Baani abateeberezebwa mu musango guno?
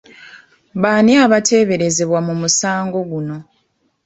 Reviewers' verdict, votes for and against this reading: accepted, 2, 0